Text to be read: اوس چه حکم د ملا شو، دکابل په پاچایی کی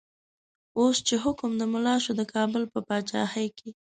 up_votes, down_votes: 0, 2